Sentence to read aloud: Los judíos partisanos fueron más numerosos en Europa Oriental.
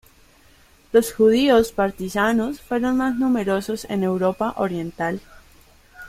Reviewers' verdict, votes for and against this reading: accepted, 2, 1